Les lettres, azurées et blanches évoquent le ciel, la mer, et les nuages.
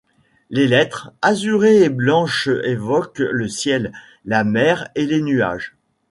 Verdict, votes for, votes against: accepted, 3, 0